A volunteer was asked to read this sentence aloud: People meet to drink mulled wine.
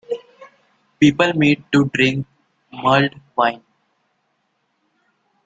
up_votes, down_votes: 2, 0